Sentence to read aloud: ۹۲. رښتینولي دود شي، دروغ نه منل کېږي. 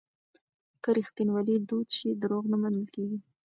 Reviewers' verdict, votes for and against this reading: rejected, 0, 2